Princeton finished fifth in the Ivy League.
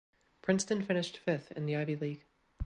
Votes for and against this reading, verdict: 2, 0, accepted